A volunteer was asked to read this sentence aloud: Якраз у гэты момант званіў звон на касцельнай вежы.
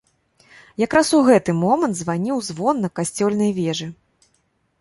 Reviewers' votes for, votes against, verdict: 1, 2, rejected